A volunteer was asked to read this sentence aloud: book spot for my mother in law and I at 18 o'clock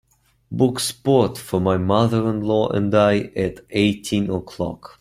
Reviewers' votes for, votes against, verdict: 0, 2, rejected